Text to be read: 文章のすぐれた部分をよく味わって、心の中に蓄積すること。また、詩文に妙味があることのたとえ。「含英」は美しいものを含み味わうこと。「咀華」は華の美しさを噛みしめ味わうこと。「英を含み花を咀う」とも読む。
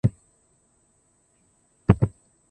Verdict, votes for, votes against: rejected, 2, 3